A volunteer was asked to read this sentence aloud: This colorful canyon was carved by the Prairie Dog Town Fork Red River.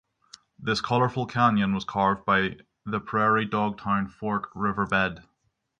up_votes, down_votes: 6, 3